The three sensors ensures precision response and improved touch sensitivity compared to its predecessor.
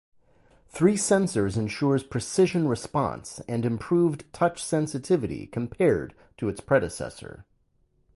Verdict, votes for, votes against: rejected, 2, 2